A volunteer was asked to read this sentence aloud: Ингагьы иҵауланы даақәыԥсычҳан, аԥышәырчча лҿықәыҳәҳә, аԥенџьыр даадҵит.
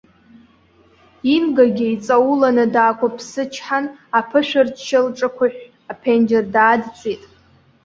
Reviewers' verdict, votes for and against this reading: accepted, 2, 1